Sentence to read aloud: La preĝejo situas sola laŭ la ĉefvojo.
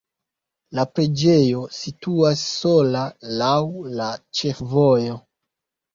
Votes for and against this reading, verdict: 2, 0, accepted